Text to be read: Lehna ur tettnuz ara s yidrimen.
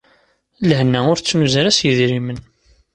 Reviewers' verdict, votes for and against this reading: accepted, 2, 0